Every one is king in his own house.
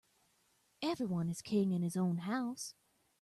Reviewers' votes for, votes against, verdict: 2, 0, accepted